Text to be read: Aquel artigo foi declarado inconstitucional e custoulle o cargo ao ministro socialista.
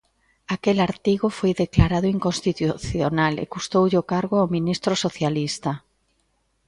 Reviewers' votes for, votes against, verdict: 2, 0, accepted